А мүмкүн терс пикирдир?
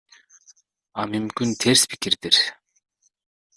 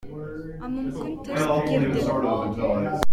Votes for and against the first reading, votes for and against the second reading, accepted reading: 2, 0, 0, 2, first